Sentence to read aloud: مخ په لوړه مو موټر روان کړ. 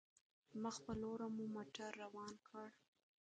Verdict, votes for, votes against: rejected, 1, 2